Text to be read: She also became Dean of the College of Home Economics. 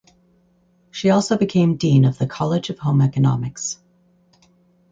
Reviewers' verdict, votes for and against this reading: accepted, 4, 0